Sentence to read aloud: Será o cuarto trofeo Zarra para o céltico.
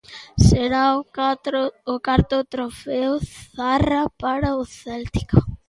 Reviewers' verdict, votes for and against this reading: rejected, 0, 2